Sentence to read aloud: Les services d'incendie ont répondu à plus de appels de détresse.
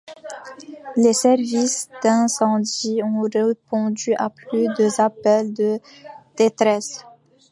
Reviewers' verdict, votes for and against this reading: rejected, 0, 2